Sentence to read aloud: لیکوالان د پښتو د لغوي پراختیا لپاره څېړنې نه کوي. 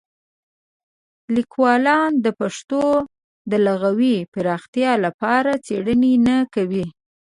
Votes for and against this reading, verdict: 2, 0, accepted